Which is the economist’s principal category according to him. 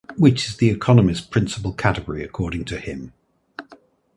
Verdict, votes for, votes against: accepted, 2, 0